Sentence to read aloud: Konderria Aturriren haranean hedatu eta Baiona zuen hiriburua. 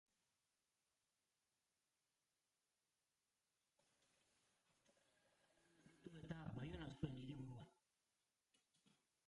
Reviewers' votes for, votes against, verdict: 0, 3, rejected